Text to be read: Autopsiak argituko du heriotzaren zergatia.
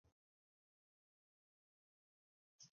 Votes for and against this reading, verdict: 0, 4, rejected